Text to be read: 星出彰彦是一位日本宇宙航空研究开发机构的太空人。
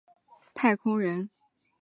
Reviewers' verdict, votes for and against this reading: rejected, 0, 2